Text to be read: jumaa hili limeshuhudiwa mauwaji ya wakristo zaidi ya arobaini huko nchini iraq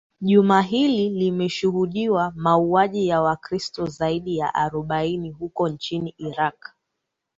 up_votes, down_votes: 3, 0